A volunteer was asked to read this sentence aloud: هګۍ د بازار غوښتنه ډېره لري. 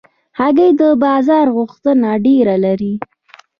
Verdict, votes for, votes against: rejected, 1, 2